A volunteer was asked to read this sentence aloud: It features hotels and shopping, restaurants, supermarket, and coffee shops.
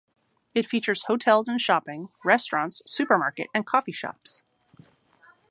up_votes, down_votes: 2, 0